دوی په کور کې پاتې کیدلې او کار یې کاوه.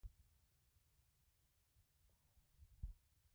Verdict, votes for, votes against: rejected, 1, 2